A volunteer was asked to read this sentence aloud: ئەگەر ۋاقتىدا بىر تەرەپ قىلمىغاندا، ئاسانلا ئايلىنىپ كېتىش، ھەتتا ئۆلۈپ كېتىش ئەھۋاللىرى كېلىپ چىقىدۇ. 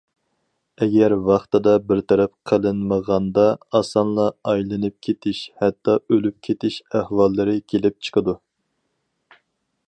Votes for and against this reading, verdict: 0, 2, rejected